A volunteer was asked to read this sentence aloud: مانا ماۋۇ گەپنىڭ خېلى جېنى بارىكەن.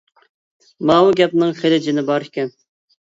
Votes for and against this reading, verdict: 0, 2, rejected